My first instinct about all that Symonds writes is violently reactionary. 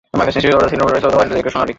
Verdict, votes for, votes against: rejected, 0, 2